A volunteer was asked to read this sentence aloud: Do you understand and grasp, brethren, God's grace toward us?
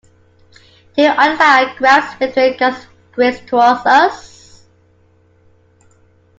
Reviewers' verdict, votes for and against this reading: rejected, 0, 2